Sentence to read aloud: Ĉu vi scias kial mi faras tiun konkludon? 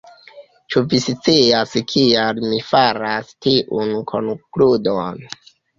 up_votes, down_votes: 0, 2